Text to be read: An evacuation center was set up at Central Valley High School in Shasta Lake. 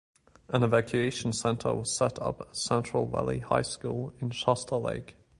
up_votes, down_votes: 2, 0